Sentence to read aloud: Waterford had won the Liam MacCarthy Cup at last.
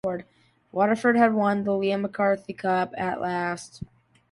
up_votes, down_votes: 2, 0